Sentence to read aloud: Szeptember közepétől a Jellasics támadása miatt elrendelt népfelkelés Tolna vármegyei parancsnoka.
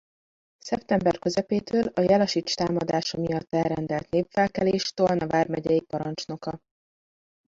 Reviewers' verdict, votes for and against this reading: rejected, 0, 2